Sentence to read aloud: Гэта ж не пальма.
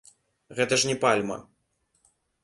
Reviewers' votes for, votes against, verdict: 1, 2, rejected